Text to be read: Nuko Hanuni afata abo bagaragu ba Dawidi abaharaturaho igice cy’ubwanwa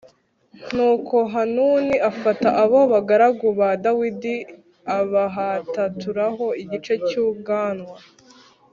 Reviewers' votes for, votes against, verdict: 1, 2, rejected